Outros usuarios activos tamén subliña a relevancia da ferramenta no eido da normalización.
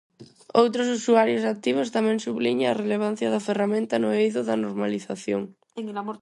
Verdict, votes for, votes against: rejected, 0, 4